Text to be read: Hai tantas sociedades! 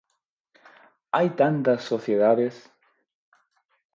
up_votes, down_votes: 8, 0